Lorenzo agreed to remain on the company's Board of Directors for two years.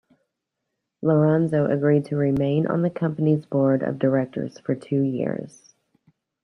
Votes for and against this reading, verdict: 2, 0, accepted